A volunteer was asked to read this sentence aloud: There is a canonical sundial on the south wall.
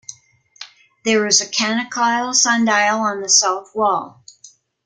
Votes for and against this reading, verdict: 0, 2, rejected